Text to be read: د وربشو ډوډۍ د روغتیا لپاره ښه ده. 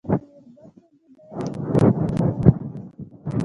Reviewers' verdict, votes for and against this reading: rejected, 1, 2